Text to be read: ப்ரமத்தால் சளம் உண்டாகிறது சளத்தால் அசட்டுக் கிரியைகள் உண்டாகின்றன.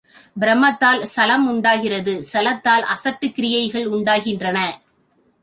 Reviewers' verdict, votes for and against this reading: accepted, 2, 0